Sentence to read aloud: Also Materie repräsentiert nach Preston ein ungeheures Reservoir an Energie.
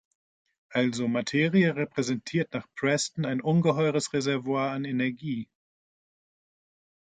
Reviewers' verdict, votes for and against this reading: accepted, 2, 0